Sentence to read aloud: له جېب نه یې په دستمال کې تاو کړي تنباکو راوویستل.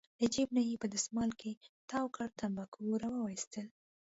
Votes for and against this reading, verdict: 2, 0, accepted